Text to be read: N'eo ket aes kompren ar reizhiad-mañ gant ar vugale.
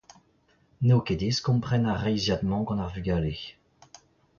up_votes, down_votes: 0, 2